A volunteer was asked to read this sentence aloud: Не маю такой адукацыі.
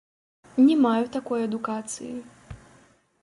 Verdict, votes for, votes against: rejected, 1, 2